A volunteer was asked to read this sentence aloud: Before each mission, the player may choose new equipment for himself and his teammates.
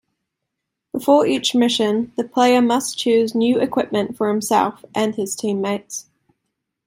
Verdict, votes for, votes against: rejected, 1, 2